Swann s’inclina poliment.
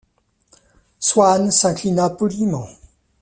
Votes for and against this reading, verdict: 2, 0, accepted